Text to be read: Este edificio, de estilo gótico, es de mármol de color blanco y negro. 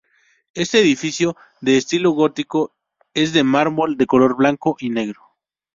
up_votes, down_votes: 2, 0